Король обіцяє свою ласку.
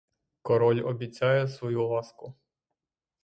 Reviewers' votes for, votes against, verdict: 3, 3, rejected